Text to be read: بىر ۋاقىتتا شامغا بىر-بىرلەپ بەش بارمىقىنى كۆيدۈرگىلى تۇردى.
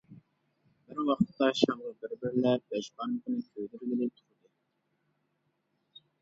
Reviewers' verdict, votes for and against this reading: rejected, 0, 2